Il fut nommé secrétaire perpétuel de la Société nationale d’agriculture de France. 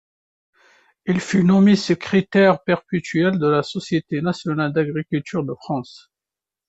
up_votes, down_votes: 2, 0